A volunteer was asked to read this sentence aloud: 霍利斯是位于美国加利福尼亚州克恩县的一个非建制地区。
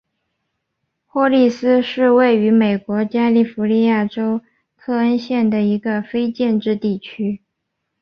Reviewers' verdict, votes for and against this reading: accepted, 5, 1